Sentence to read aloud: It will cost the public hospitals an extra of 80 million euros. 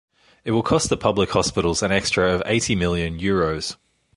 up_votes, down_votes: 0, 2